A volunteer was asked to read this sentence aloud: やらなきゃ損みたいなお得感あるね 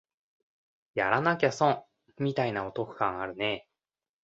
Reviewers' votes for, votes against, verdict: 2, 0, accepted